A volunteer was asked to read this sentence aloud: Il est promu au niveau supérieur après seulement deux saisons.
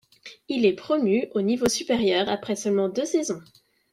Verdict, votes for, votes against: accepted, 2, 0